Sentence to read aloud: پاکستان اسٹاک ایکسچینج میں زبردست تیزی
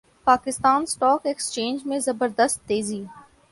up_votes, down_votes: 2, 0